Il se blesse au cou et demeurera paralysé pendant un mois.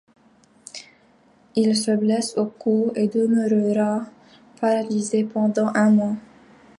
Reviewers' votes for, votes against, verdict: 0, 2, rejected